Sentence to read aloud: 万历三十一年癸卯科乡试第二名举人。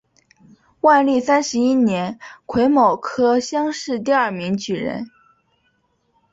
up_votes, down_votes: 3, 0